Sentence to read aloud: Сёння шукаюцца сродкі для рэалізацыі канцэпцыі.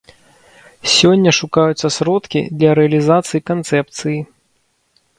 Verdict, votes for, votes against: accepted, 2, 0